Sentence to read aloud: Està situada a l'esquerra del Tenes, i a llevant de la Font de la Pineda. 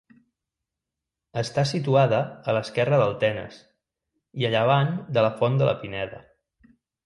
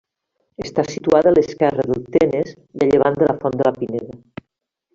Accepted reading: first